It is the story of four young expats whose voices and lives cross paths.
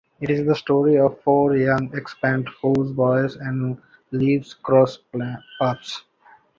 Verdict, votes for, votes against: rejected, 0, 2